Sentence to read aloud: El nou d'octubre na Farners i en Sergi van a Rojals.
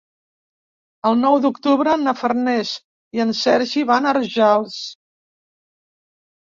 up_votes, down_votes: 2, 0